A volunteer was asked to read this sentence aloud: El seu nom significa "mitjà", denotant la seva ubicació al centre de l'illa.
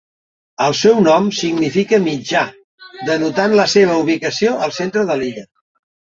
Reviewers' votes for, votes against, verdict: 3, 0, accepted